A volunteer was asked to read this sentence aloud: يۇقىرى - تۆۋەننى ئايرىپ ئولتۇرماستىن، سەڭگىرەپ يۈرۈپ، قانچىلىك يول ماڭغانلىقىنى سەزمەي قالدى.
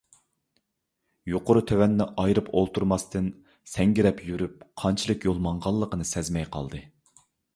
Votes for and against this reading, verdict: 2, 0, accepted